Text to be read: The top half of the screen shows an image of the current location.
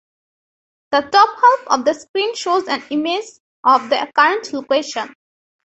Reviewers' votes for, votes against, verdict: 3, 0, accepted